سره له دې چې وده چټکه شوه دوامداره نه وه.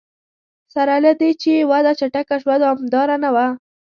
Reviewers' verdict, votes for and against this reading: accepted, 2, 0